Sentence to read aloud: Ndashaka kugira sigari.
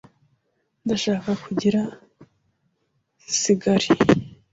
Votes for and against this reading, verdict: 2, 0, accepted